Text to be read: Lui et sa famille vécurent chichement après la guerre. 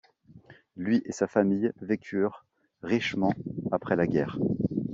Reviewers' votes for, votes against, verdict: 0, 3, rejected